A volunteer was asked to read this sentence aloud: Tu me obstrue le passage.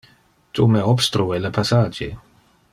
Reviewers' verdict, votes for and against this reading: accepted, 2, 0